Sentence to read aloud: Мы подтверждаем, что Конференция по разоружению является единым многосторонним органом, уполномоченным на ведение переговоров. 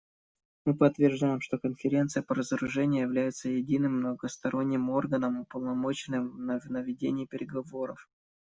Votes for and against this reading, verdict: 1, 2, rejected